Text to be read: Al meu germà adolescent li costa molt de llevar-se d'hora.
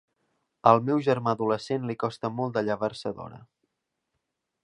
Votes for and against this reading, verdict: 3, 0, accepted